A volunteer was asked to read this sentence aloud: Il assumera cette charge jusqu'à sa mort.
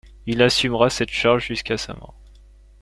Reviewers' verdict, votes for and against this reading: accepted, 2, 0